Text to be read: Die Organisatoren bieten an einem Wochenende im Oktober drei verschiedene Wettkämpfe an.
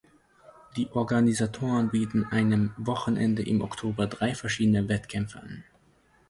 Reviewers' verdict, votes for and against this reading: rejected, 1, 2